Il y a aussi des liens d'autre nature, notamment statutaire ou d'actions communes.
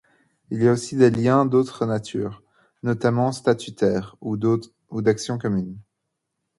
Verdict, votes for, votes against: rejected, 0, 2